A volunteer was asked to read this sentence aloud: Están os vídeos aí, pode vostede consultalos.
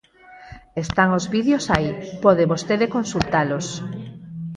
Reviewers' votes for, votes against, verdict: 0, 4, rejected